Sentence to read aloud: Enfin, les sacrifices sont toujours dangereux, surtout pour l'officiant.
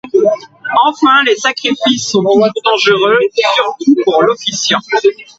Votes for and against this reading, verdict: 1, 2, rejected